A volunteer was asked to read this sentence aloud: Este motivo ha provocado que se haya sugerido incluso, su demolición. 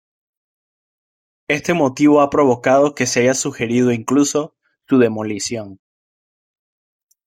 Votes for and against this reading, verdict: 2, 0, accepted